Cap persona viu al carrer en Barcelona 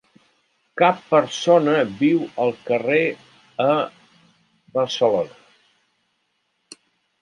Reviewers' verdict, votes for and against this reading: rejected, 1, 3